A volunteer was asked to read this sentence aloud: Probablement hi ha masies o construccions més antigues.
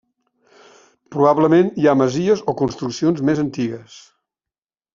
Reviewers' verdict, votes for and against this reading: accepted, 3, 0